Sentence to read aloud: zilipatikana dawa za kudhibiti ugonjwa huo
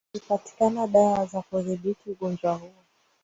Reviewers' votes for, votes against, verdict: 2, 0, accepted